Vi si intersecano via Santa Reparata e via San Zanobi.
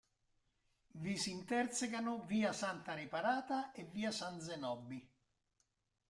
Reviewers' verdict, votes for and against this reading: rejected, 0, 2